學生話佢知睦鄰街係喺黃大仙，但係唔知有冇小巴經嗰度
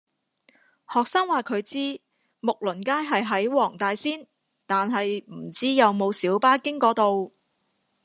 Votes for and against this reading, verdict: 2, 0, accepted